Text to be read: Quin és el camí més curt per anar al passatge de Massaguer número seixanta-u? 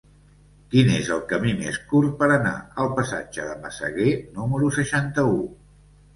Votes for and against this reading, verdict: 0, 2, rejected